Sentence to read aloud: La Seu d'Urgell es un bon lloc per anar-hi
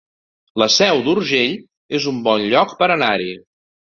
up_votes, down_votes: 3, 0